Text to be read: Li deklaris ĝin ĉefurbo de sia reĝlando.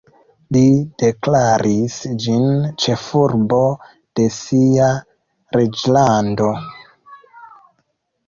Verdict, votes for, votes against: accepted, 2, 0